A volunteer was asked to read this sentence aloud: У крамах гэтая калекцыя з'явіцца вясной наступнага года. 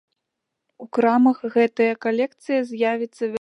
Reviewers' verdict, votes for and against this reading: rejected, 1, 2